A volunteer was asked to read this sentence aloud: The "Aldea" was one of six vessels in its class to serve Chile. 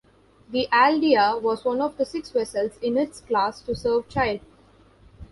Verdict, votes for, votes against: rejected, 1, 2